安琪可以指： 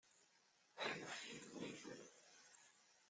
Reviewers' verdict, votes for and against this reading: rejected, 0, 2